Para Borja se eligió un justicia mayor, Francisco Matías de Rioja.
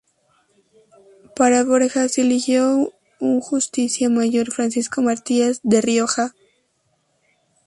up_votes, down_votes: 2, 0